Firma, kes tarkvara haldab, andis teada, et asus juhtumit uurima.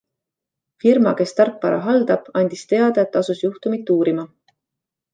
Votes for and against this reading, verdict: 2, 0, accepted